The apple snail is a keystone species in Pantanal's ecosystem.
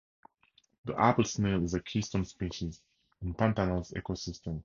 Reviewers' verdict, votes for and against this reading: accepted, 2, 0